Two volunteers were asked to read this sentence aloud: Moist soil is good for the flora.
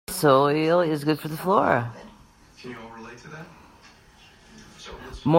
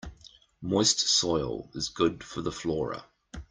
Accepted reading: second